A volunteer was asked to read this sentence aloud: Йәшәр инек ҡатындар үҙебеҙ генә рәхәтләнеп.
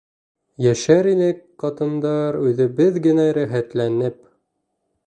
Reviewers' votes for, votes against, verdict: 1, 2, rejected